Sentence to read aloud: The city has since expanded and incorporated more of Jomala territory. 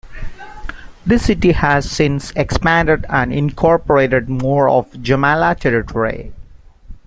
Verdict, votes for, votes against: accepted, 2, 1